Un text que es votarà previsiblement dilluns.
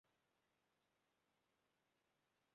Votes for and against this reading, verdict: 0, 2, rejected